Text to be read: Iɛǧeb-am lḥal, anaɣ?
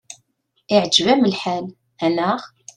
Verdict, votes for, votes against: accepted, 2, 0